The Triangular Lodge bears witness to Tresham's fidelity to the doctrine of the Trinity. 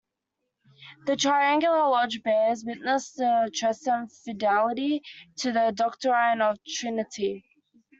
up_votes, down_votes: 1, 2